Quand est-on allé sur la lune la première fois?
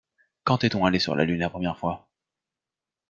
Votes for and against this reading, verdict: 2, 0, accepted